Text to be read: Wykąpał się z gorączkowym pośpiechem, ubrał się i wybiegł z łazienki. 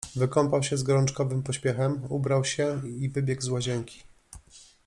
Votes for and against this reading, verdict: 2, 0, accepted